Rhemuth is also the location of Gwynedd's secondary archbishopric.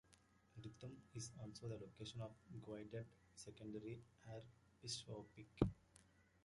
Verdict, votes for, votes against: rejected, 0, 2